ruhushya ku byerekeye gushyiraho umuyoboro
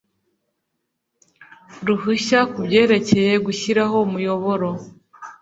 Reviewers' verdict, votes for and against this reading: accepted, 2, 0